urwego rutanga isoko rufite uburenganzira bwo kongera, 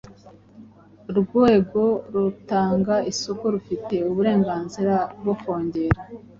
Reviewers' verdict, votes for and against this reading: accepted, 3, 0